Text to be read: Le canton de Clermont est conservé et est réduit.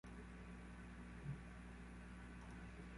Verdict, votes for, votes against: rejected, 0, 2